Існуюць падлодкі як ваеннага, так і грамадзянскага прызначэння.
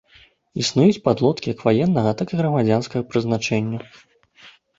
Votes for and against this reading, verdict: 2, 0, accepted